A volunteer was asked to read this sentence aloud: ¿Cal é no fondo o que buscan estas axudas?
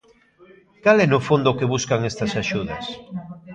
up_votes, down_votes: 0, 2